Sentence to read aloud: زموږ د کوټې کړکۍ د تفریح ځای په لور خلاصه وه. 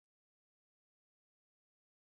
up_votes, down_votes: 0, 2